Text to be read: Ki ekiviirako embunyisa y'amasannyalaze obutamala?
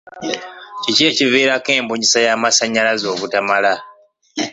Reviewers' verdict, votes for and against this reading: rejected, 0, 2